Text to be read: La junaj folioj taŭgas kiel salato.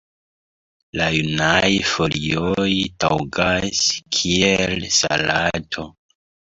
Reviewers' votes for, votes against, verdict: 1, 2, rejected